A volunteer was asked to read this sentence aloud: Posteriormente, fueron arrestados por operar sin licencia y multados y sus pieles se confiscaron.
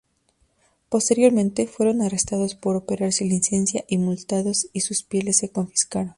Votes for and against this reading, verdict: 2, 0, accepted